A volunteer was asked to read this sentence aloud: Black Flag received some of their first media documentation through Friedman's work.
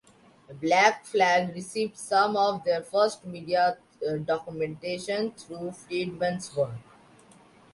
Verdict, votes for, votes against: rejected, 0, 2